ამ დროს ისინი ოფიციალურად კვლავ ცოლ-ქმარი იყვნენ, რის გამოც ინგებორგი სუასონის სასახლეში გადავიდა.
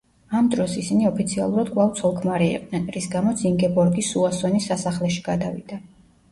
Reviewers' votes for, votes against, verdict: 2, 0, accepted